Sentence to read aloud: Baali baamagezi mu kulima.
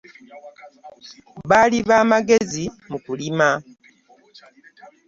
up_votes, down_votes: 3, 0